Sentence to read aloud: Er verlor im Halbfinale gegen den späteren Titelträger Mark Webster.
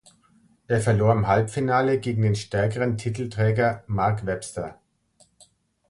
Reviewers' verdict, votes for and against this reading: rejected, 1, 2